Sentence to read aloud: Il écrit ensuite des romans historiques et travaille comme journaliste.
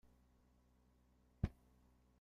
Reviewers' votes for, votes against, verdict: 0, 2, rejected